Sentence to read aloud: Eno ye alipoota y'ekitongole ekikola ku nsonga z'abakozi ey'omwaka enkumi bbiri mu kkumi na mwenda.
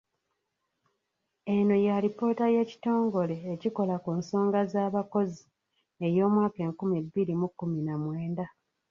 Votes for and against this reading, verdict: 1, 2, rejected